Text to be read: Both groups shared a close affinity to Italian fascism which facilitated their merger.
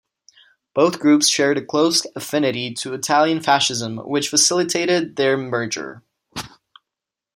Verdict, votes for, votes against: accepted, 2, 0